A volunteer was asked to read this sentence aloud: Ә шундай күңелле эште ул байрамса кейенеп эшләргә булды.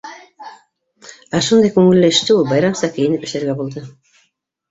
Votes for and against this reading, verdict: 3, 4, rejected